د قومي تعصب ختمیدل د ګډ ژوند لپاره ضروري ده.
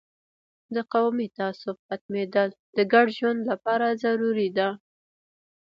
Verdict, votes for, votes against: accepted, 2, 0